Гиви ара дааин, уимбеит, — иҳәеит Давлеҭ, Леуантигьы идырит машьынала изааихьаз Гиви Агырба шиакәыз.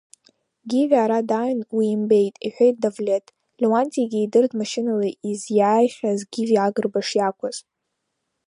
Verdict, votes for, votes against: rejected, 0, 2